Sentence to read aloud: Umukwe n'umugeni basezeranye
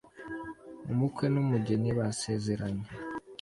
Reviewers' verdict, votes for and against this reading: accepted, 2, 0